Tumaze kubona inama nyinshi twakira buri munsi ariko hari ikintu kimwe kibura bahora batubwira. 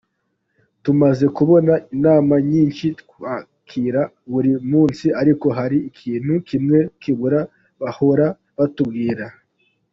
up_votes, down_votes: 0, 2